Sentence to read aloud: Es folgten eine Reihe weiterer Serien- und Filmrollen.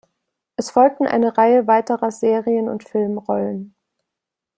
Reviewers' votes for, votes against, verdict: 2, 0, accepted